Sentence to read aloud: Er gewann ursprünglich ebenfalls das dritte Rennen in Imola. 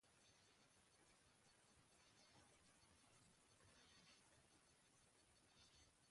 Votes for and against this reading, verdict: 0, 2, rejected